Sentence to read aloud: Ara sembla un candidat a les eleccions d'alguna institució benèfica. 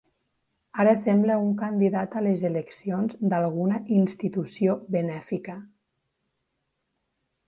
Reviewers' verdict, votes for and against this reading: accepted, 3, 1